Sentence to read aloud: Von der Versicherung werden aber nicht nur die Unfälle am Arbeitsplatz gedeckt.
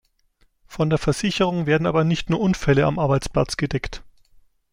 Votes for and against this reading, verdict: 1, 2, rejected